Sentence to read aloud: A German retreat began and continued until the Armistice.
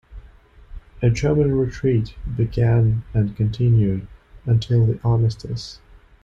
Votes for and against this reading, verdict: 0, 2, rejected